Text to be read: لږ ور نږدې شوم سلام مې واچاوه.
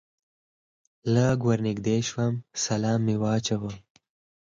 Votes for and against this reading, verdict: 6, 2, accepted